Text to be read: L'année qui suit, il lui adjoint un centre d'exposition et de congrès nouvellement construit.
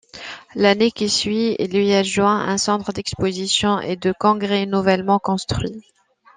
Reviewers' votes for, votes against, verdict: 2, 0, accepted